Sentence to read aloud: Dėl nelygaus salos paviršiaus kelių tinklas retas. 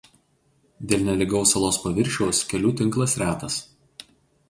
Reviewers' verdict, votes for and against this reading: accepted, 2, 0